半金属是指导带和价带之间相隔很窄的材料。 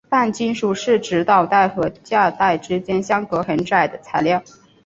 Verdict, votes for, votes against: accepted, 3, 1